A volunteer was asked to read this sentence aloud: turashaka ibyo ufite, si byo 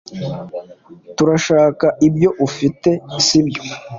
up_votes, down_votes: 2, 0